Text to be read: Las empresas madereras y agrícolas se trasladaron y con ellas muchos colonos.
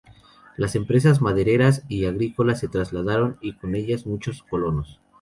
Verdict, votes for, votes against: accepted, 2, 0